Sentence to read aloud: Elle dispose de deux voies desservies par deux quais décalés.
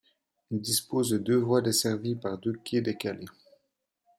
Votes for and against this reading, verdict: 2, 0, accepted